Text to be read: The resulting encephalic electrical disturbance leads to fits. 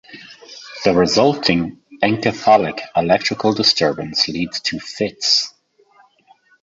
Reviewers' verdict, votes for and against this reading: accepted, 2, 1